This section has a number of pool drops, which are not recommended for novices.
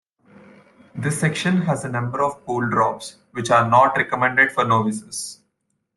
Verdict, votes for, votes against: accepted, 2, 0